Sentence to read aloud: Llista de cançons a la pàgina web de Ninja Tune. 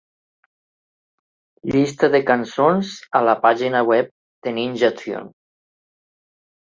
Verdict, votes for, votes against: accepted, 4, 0